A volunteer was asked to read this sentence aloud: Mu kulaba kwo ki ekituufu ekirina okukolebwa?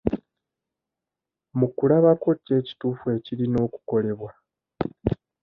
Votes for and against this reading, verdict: 2, 0, accepted